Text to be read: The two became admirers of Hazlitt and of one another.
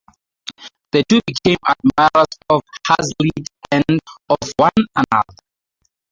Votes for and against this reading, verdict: 0, 2, rejected